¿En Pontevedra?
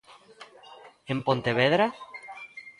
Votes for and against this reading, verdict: 2, 0, accepted